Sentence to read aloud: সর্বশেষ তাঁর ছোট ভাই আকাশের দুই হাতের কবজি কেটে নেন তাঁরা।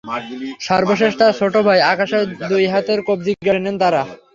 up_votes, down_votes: 0, 3